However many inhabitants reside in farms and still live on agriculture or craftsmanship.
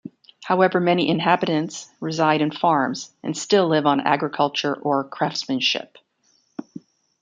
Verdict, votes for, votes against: rejected, 1, 2